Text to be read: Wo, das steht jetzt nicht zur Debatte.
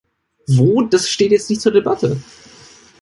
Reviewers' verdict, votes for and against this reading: accepted, 2, 0